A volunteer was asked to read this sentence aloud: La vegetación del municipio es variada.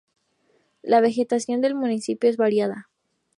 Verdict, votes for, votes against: accepted, 2, 0